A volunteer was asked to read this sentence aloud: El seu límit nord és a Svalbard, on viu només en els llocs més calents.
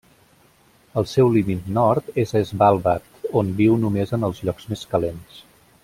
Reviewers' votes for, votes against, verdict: 2, 0, accepted